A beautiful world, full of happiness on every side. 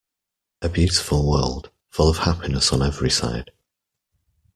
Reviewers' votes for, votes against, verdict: 2, 0, accepted